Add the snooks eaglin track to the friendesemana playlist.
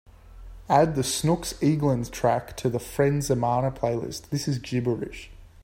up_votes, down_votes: 0, 2